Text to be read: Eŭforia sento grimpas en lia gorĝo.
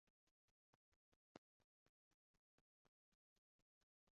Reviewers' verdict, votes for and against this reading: rejected, 0, 2